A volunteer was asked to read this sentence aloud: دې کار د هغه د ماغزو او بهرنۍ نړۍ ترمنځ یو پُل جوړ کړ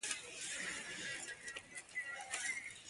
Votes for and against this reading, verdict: 0, 2, rejected